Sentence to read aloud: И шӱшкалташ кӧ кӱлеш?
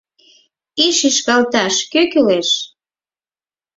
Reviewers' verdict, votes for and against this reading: accepted, 4, 0